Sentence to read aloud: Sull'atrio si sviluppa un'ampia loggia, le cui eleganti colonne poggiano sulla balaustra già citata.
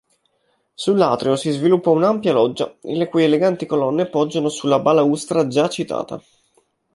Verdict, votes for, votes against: accepted, 2, 0